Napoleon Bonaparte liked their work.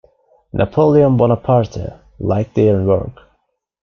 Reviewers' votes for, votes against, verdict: 1, 2, rejected